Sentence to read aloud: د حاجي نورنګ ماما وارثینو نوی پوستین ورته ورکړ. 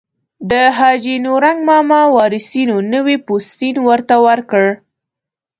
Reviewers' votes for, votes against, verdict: 2, 0, accepted